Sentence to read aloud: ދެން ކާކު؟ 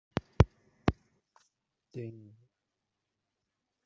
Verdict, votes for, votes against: rejected, 0, 2